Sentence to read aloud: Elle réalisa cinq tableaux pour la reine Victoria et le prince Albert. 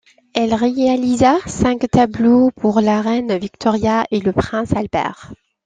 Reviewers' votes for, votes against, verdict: 2, 0, accepted